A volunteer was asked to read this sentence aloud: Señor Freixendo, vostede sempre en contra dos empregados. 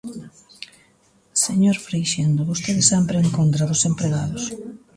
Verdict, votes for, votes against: rejected, 1, 2